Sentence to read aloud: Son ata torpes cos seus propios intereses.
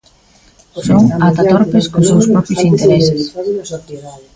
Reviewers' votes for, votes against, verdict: 0, 2, rejected